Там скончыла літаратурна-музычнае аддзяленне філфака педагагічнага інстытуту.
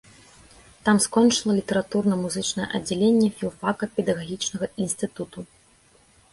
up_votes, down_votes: 2, 0